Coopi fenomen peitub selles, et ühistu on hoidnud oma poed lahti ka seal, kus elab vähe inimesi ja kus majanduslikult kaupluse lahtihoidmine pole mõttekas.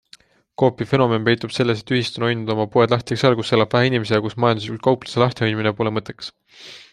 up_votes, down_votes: 2, 0